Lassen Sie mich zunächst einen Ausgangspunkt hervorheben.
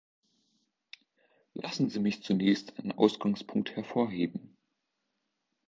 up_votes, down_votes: 2, 0